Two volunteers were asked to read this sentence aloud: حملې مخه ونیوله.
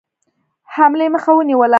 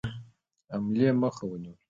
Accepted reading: second